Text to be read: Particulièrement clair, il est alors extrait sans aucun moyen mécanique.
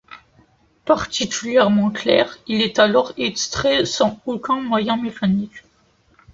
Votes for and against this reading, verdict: 2, 0, accepted